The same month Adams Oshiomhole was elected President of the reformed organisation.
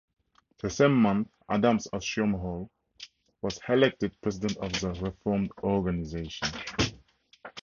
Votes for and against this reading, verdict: 2, 2, rejected